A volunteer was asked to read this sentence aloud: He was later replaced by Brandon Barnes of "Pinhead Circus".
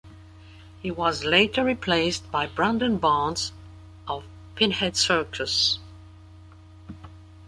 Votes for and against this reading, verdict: 2, 0, accepted